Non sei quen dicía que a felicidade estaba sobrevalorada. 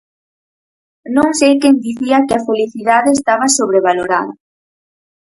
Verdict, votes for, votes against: accepted, 4, 0